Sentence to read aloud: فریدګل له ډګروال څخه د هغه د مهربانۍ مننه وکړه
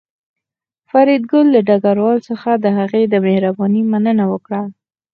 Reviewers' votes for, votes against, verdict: 4, 0, accepted